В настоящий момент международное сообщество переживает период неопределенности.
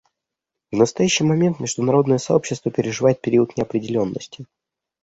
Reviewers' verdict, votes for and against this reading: accepted, 2, 0